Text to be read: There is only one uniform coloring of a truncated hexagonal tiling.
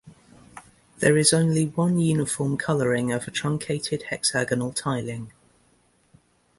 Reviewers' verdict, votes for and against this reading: accepted, 2, 0